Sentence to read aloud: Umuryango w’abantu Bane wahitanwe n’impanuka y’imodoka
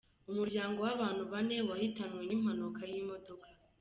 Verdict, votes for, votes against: accepted, 2, 1